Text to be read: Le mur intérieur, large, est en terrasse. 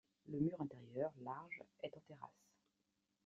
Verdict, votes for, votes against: accepted, 2, 1